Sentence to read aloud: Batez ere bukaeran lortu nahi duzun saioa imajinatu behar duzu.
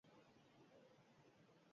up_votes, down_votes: 0, 8